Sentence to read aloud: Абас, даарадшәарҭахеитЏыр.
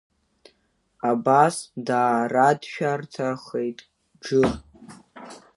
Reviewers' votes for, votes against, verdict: 0, 2, rejected